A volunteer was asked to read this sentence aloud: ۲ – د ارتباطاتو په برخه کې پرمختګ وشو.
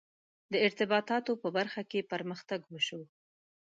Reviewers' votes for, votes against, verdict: 0, 2, rejected